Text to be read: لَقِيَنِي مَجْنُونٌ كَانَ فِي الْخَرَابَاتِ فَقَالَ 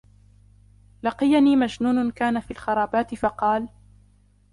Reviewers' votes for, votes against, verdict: 2, 0, accepted